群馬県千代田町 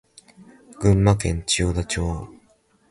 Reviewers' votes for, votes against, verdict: 2, 0, accepted